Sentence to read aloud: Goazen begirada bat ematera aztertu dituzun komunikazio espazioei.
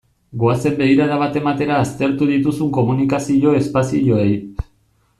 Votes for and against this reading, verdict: 2, 0, accepted